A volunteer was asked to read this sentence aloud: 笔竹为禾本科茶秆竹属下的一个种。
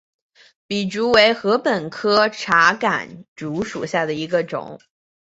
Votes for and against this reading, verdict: 3, 0, accepted